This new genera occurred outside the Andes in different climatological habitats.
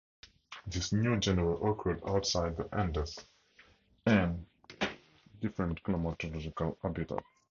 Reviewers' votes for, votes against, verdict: 0, 4, rejected